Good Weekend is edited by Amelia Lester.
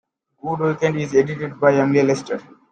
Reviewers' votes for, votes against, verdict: 2, 0, accepted